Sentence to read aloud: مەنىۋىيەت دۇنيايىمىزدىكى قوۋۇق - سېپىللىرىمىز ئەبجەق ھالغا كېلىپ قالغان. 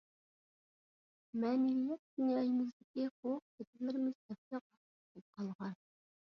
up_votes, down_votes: 0, 2